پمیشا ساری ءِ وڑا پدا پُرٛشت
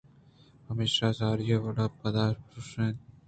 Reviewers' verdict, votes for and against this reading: rejected, 1, 2